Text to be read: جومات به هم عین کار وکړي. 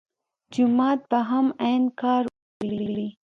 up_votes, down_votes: 1, 2